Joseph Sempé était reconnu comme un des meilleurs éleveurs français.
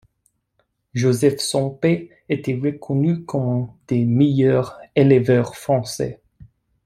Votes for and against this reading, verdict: 2, 0, accepted